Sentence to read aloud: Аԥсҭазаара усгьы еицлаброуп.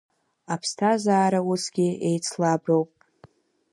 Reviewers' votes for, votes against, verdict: 2, 1, accepted